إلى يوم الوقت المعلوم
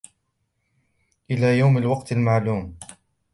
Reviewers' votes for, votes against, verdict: 2, 0, accepted